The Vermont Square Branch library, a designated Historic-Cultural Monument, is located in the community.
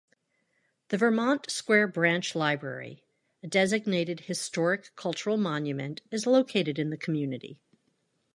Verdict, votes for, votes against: accepted, 2, 0